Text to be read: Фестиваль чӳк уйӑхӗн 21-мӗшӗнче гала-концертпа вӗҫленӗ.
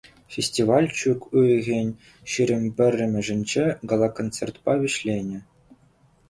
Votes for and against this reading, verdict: 0, 2, rejected